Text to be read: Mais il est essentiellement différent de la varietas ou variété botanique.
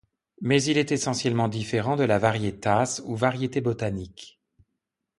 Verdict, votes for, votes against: accepted, 2, 0